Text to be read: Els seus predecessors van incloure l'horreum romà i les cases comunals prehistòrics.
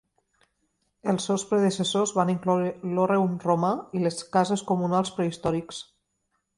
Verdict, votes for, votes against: accepted, 3, 0